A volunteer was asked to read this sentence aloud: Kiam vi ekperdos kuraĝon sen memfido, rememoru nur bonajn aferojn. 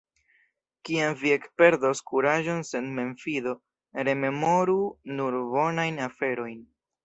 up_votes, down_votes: 2, 0